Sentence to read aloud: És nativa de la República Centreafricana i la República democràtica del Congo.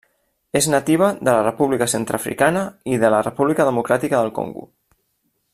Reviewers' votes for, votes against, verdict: 1, 2, rejected